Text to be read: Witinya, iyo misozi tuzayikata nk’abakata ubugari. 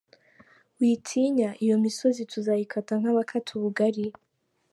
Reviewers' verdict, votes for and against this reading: accepted, 2, 0